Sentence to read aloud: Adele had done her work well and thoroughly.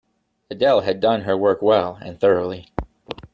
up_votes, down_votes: 2, 0